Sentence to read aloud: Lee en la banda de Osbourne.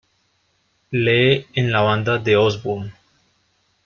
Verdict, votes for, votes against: rejected, 1, 2